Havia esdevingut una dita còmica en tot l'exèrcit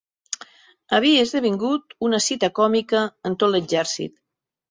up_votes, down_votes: 1, 2